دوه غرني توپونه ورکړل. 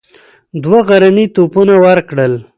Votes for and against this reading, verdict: 2, 0, accepted